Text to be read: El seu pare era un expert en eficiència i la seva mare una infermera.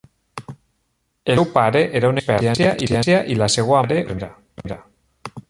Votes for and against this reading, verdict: 0, 2, rejected